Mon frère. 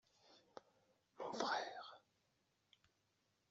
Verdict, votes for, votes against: rejected, 1, 2